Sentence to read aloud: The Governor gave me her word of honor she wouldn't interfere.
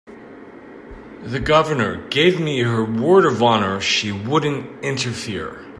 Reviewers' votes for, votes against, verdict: 3, 0, accepted